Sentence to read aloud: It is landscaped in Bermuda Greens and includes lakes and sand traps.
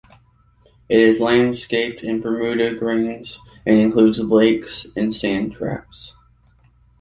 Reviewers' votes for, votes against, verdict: 2, 0, accepted